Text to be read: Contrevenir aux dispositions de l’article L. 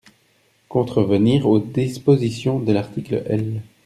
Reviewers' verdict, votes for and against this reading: rejected, 1, 2